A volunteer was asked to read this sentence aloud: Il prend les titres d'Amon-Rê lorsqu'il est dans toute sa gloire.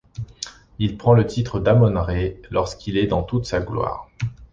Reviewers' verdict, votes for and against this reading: rejected, 0, 2